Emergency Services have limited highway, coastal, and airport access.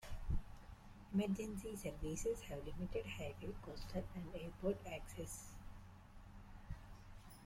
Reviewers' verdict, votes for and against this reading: rejected, 0, 2